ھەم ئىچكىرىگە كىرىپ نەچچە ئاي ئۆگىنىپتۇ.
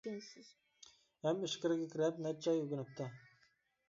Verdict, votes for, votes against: rejected, 0, 2